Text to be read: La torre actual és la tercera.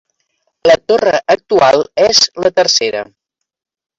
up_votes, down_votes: 1, 2